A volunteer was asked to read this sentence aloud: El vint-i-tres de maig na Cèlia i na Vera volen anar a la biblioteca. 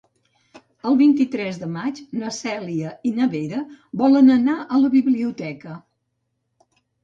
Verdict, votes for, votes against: accepted, 2, 0